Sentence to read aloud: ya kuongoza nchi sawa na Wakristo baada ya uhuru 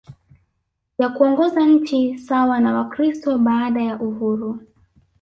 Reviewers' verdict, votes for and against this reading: rejected, 1, 2